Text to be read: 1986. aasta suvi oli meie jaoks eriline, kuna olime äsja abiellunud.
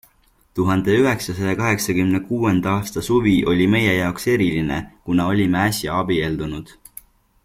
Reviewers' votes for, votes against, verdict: 0, 2, rejected